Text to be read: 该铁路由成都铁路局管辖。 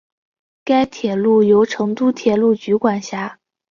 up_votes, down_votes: 2, 1